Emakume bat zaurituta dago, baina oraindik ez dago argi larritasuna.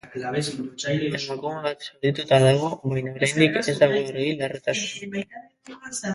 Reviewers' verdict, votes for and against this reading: rejected, 0, 2